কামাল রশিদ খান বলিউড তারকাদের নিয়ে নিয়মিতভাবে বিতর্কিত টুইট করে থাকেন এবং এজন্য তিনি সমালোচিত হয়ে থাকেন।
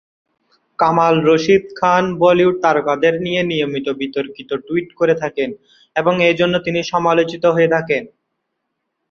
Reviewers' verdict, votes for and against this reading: accepted, 2, 0